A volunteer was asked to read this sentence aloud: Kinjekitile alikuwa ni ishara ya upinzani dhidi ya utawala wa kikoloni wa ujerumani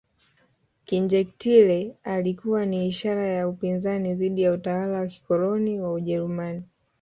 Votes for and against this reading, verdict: 1, 2, rejected